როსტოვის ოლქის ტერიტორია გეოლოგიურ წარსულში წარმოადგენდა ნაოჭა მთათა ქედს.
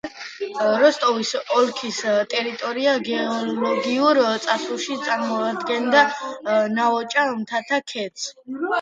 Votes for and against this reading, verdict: 1, 2, rejected